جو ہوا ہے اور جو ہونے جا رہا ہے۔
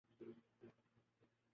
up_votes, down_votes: 0, 2